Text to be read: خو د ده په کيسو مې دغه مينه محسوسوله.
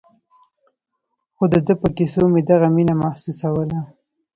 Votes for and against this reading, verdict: 2, 0, accepted